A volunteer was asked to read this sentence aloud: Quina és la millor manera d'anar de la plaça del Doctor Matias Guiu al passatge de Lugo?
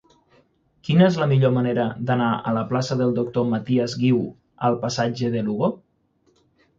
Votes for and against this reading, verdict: 0, 6, rejected